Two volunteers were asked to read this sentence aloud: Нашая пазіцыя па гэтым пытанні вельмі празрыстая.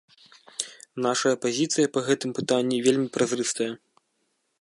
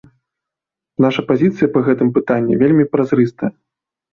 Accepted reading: first